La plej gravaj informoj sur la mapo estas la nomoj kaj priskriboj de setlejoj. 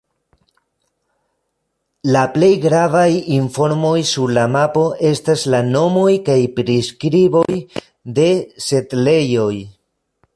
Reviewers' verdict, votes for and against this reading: accepted, 2, 1